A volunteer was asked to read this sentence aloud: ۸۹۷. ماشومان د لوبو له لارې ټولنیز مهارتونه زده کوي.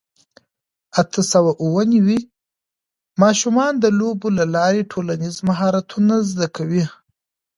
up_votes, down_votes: 0, 2